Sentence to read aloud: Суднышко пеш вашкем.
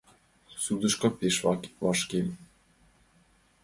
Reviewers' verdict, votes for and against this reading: rejected, 1, 2